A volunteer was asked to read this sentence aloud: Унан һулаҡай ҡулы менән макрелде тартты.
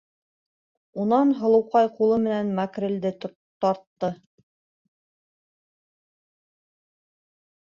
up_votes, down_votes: 0, 2